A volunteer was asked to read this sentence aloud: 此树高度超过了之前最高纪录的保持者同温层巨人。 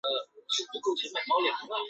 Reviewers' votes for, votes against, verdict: 0, 3, rejected